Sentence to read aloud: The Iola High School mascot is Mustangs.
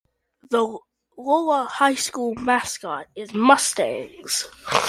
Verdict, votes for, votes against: rejected, 0, 2